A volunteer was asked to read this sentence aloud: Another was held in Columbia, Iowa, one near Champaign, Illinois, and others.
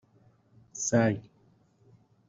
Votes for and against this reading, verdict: 0, 2, rejected